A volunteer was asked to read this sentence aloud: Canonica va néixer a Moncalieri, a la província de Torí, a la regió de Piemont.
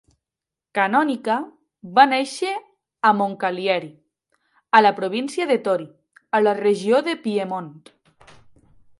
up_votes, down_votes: 0, 2